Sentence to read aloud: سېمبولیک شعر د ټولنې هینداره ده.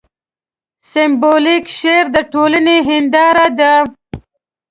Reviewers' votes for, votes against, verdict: 2, 0, accepted